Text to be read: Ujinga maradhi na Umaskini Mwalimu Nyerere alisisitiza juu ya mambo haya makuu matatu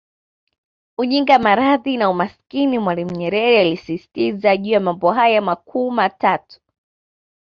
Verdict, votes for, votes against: accepted, 2, 0